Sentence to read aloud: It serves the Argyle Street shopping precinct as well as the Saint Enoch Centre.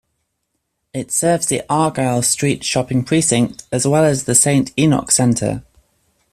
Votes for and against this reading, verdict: 2, 0, accepted